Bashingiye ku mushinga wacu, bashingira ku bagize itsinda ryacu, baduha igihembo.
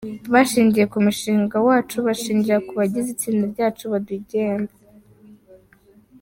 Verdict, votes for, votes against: accepted, 2, 1